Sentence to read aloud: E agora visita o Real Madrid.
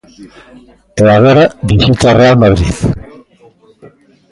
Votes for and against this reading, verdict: 0, 2, rejected